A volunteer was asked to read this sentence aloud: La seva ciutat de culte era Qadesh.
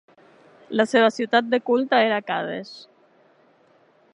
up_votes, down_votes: 2, 0